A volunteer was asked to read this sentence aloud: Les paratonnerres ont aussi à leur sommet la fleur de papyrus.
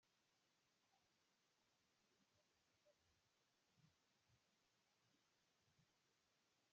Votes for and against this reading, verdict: 0, 2, rejected